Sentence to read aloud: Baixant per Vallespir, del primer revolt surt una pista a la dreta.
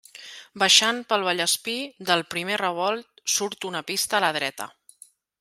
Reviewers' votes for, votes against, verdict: 2, 1, accepted